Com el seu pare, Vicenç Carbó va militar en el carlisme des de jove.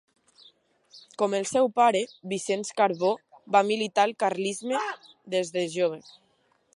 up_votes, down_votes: 1, 2